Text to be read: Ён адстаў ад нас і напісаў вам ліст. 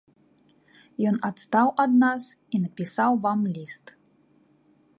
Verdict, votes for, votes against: accepted, 2, 0